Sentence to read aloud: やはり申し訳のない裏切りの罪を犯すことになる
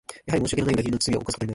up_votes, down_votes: 1, 2